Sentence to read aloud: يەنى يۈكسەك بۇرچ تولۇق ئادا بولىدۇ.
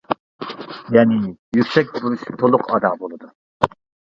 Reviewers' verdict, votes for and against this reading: rejected, 1, 2